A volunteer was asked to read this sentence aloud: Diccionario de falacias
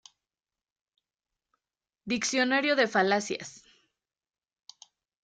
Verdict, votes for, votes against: accepted, 2, 0